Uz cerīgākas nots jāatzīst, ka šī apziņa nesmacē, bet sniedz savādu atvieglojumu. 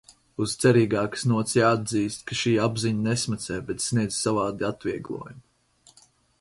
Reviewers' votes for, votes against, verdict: 4, 0, accepted